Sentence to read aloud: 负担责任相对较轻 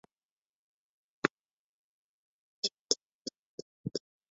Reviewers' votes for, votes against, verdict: 0, 3, rejected